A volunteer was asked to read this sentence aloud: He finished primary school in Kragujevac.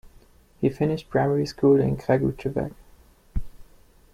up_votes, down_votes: 2, 0